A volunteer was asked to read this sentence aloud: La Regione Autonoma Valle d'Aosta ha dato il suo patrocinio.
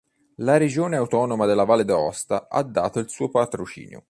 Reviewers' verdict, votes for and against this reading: rejected, 1, 2